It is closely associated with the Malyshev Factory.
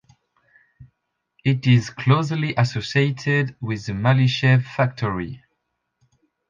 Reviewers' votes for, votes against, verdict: 2, 0, accepted